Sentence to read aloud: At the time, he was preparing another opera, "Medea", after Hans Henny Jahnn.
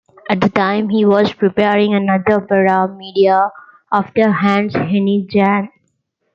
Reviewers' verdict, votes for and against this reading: rejected, 1, 2